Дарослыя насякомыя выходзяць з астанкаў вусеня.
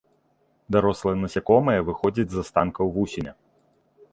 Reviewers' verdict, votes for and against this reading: accepted, 2, 0